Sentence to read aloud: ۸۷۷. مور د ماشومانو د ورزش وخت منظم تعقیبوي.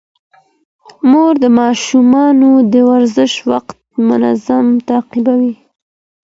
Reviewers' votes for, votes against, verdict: 0, 2, rejected